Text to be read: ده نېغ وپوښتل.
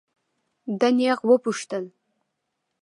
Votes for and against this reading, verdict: 2, 0, accepted